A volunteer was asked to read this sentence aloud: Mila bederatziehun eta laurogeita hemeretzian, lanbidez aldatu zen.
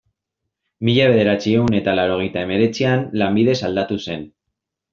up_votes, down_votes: 2, 0